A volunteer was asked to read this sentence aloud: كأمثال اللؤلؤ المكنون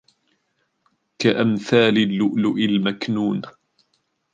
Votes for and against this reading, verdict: 0, 2, rejected